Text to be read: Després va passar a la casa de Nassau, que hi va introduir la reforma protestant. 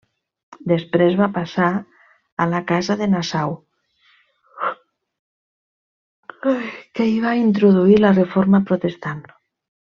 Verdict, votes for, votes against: rejected, 0, 2